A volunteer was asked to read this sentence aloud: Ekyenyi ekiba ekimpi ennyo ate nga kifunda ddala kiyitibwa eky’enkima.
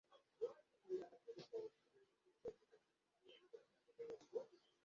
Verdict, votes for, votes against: rejected, 0, 2